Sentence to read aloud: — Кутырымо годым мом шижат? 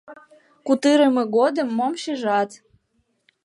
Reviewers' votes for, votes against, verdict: 2, 0, accepted